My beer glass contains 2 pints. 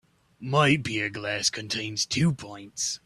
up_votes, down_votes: 0, 2